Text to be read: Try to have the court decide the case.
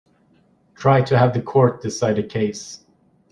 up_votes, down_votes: 2, 0